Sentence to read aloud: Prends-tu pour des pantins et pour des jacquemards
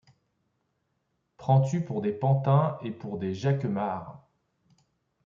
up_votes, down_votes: 2, 0